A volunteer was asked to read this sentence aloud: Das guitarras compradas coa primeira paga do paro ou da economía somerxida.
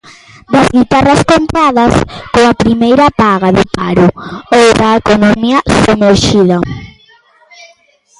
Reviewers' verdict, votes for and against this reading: rejected, 0, 2